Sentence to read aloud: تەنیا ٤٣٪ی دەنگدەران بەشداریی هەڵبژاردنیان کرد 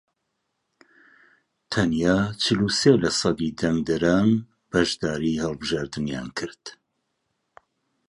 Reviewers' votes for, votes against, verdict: 0, 2, rejected